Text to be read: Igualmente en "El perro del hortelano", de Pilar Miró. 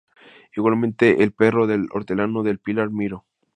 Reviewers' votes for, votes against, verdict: 0, 4, rejected